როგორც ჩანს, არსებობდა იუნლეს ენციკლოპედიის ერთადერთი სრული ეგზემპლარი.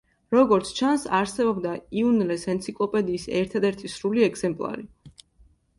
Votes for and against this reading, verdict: 2, 0, accepted